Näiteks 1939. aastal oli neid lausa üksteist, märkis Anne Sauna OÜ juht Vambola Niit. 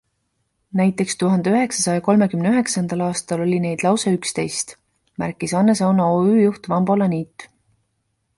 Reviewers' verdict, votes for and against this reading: rejected, 0, 2